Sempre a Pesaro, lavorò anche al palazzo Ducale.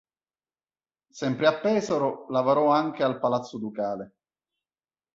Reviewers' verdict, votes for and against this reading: accepted, 3, 0